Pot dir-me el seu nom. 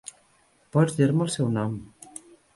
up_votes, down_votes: 0, 2